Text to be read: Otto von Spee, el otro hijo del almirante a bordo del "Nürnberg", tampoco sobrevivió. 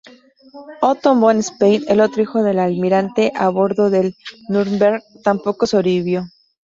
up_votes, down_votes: 2, 0